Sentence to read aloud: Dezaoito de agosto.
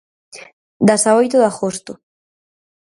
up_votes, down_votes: 2, 4